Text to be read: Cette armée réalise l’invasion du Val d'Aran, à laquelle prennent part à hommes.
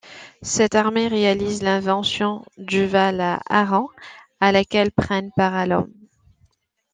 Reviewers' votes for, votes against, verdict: 1, 2, rejected